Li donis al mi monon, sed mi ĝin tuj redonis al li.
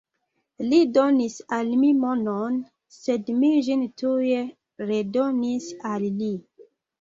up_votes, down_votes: 2, 1